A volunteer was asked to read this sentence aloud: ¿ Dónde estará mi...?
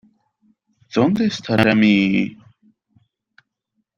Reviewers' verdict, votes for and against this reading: accepted, 2, 0